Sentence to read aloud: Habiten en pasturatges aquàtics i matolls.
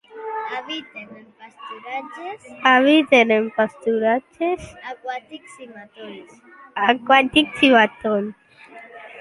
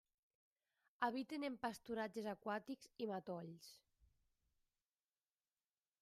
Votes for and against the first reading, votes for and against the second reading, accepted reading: 0, 2, 2, 1, second